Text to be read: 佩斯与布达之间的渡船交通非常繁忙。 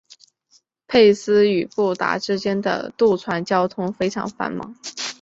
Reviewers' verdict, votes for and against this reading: rejected, 2, 2